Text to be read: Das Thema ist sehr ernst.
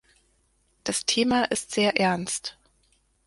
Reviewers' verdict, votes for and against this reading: accepted, 4, 0